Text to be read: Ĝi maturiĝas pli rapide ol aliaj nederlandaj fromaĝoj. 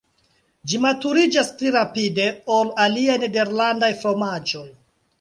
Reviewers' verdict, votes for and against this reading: accepted, 2, 1